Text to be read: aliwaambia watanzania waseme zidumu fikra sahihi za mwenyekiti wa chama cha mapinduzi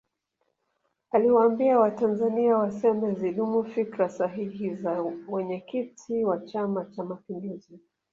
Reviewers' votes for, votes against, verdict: 3, 2, accepted